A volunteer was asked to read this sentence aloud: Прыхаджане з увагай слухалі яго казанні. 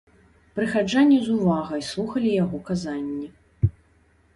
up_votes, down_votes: 2, 0